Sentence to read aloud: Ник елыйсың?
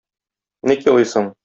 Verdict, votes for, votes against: accepted, 2, 0